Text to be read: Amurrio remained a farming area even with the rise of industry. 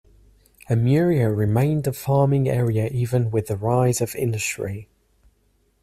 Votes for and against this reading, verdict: 2, 0, accepted